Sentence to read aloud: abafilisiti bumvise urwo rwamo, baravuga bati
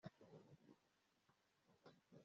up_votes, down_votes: 2, 3